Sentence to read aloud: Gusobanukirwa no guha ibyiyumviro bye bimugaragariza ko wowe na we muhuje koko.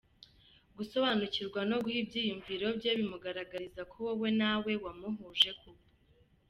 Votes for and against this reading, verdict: 2, 0, accepted